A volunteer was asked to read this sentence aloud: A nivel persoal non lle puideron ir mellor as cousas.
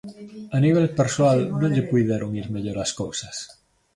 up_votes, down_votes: 2, 0